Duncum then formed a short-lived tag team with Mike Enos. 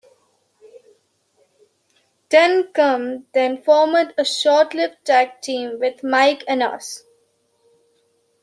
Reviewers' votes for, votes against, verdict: 1, 2, rejected